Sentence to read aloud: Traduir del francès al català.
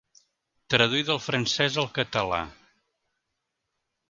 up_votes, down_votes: 3, 0